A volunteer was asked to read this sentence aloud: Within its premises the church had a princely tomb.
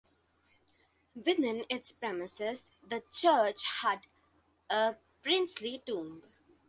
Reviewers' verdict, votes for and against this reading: accepted, 2, 0